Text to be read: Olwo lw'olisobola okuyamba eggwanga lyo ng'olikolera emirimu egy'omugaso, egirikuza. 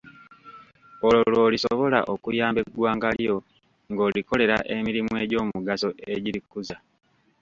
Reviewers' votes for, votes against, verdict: 1, 2, rejected